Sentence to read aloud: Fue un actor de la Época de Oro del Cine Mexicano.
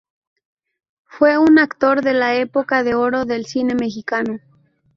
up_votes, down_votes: 2, 0